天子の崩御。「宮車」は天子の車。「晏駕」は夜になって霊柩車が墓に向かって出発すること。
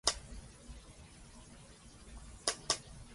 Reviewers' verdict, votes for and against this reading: rejected, 1, 2